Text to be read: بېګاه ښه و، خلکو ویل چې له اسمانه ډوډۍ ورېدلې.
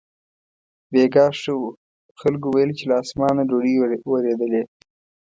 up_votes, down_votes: 2, 0